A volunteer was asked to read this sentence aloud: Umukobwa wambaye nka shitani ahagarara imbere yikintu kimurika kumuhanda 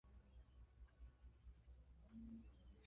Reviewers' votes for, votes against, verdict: 0, 2, rejected